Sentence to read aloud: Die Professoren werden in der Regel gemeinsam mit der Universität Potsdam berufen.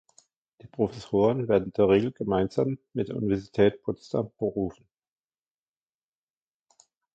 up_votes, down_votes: 0, 2